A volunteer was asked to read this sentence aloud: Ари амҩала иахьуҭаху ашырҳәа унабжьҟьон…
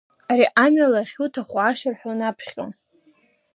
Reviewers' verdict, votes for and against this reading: rejected, 1, 2